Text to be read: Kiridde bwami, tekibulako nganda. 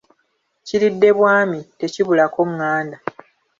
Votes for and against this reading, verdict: 2, 0, accepted